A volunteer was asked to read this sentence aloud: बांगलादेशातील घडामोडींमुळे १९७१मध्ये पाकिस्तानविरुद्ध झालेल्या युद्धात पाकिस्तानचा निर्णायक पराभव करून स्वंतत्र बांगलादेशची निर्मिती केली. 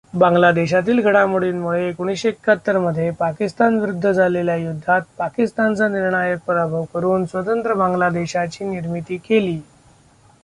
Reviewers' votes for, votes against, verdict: 0, 2, rejected